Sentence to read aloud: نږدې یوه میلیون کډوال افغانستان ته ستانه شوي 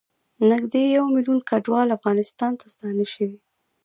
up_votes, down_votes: 1, 2